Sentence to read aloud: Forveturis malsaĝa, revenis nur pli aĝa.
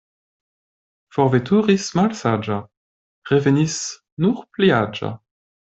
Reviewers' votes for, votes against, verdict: 2, 0, accepted